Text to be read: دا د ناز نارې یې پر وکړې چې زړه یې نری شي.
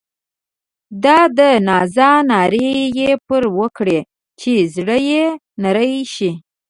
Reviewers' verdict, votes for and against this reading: rejected, 1, 2